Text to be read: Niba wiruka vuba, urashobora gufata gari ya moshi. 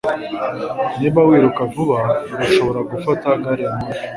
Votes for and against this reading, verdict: 2, 0, accepted